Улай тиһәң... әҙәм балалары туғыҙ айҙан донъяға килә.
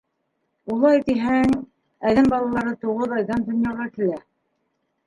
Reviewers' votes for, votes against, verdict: 0, 2, rejected